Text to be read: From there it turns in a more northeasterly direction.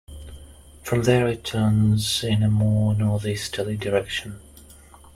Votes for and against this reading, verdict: 2, 0, accepted